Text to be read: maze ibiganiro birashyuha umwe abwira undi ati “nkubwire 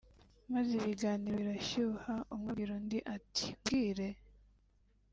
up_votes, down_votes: 2, 1